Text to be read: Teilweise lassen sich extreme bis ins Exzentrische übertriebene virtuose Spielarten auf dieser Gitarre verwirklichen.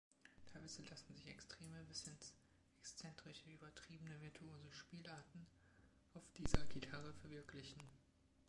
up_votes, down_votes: 0, 2